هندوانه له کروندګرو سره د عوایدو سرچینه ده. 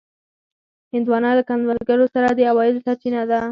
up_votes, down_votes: 0, 4